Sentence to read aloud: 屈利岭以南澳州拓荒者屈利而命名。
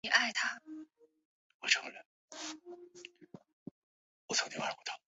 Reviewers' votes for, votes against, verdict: 3, 4, rejected